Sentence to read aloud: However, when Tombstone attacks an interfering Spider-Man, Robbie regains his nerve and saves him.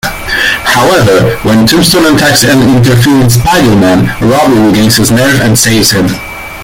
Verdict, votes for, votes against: rejected, 1, 2